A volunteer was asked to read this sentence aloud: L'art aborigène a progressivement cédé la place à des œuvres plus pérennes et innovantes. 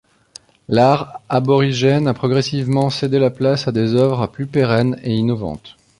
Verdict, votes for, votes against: rejected, 1, 2